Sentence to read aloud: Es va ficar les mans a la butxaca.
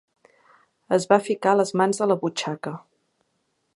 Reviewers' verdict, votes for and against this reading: accepted, 2, 0